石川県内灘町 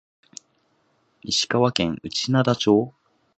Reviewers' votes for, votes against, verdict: 4, 1, accepted